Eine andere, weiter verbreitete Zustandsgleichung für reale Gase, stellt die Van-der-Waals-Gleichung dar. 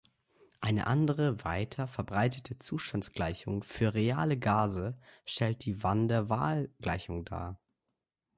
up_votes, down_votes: 0, 2